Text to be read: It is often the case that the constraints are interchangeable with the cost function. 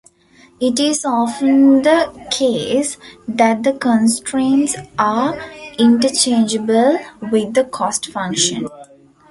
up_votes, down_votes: 1, 2